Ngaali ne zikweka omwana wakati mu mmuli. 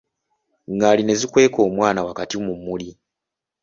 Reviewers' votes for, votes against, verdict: 2, 0, accepted